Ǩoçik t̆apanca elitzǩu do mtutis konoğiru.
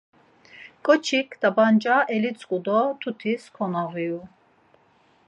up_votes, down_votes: 4, 0